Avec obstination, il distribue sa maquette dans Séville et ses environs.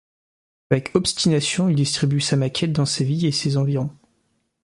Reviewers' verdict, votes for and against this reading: accepted, 2, 0